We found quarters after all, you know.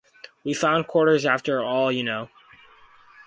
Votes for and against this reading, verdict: 4, 0, accepted